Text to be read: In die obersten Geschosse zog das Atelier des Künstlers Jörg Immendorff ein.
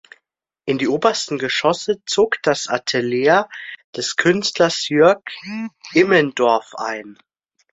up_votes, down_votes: 1, 2